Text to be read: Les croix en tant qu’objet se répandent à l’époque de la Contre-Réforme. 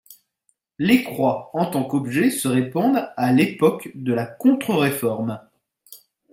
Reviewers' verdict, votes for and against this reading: accepted, 2, 0